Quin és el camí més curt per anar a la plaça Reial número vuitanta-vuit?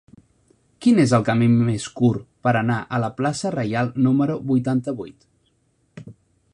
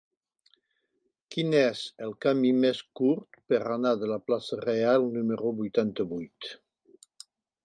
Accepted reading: first